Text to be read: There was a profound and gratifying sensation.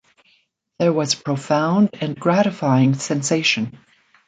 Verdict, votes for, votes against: rejected, 0, 2